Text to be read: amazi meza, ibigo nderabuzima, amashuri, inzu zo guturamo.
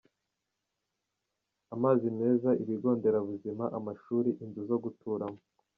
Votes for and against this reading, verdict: 2, 0, accepted